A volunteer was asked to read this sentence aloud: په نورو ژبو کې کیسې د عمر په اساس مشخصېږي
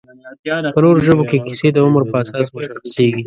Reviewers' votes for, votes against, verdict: 0, 2, rejected